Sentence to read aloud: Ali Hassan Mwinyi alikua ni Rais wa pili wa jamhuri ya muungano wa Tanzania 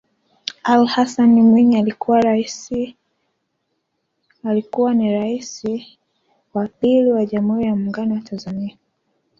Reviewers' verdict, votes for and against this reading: rejected, 1, 2